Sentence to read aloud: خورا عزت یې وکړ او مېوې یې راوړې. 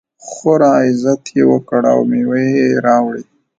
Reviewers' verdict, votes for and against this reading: accepted, 2, 0